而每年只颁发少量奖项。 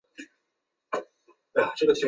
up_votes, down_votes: 0, 2